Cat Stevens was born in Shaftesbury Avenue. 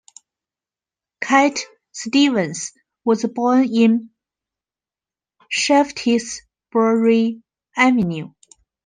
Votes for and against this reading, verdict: 1, 2, rejected